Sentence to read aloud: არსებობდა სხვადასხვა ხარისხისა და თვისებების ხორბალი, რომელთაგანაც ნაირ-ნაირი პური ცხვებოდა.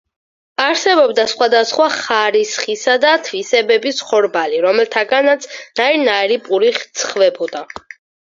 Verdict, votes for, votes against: rejected, 2, 4